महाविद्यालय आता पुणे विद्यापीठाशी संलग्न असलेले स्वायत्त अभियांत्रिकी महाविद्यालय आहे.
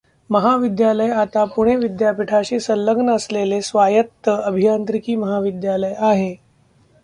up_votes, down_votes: 2, 0